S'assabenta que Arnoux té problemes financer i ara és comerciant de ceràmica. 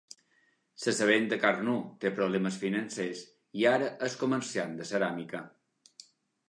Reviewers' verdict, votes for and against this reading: accepted, 2, 0